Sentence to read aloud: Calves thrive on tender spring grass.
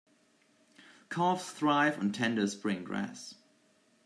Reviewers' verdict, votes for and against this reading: accepted, 2, 0